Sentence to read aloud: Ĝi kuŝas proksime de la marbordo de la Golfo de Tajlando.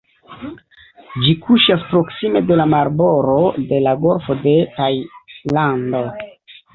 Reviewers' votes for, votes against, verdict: 1, 2, rejected